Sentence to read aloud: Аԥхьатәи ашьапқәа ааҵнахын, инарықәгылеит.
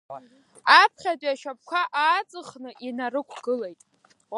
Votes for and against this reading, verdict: 1, 2, rejected